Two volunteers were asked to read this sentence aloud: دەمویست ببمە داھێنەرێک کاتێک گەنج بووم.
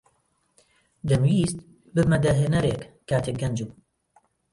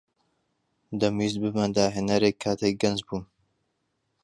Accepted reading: second